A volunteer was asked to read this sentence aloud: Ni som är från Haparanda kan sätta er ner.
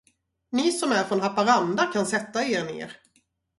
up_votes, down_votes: 0, 2